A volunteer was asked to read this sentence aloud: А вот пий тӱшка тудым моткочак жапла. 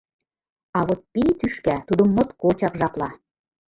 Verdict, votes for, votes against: rejected, 1, 2